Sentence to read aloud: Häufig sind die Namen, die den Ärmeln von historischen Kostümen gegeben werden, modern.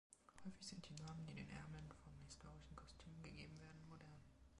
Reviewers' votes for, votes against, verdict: 0, 2, rejected